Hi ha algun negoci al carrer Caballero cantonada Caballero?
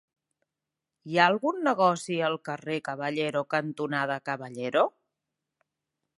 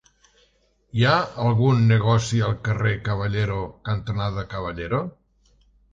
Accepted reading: first